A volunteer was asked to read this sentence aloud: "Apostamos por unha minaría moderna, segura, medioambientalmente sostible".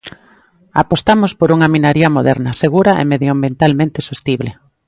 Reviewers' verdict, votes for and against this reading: rejected, 1, 2